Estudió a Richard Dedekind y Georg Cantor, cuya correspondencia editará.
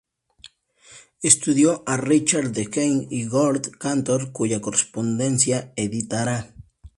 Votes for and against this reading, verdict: 0, 2, rejected